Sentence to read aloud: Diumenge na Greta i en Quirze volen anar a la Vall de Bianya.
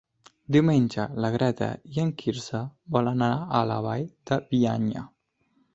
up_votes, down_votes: 2, 0